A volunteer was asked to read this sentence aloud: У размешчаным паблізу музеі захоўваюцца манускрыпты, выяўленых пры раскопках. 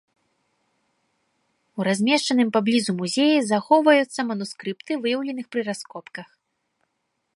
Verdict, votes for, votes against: accepted, 2, 0